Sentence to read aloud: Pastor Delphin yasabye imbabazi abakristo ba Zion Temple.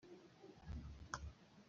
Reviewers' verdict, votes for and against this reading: rejected, 0, 2